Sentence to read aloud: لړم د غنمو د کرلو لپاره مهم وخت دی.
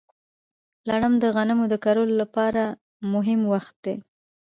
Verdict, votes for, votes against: accepted, 2, 1